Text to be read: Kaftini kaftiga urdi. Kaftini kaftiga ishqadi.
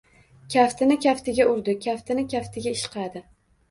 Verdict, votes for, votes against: accepted, 2, 1